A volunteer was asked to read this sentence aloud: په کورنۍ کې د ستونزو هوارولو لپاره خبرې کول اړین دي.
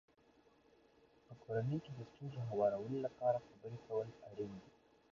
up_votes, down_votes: 1, 2